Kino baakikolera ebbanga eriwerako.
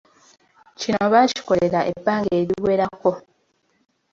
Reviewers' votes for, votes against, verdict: 2, 0, accepted